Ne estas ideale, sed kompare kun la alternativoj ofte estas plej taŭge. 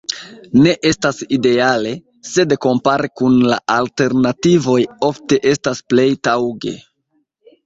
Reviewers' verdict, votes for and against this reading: rejected, 1, 2